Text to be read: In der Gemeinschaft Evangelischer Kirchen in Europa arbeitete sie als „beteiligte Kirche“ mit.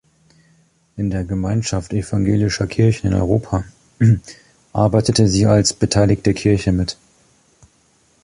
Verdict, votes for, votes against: accepted, 2, 1